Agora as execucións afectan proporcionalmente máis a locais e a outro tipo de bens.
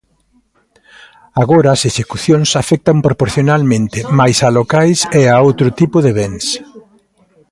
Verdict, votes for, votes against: accepted, 2, 0